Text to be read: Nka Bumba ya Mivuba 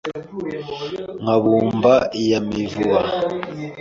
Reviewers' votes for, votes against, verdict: 2, 0, accepted